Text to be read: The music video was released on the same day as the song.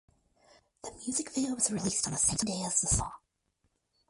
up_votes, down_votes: 2, 4